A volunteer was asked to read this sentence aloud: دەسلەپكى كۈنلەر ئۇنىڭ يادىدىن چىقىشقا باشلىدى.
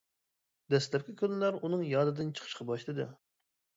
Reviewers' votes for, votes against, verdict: 2, 0, accepted